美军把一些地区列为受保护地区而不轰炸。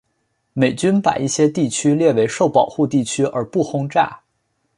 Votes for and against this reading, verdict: 2, 0, accepted